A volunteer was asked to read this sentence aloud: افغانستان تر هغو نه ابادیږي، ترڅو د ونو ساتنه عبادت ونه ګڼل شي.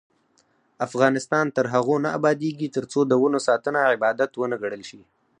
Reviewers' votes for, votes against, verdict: 4, 0, accepted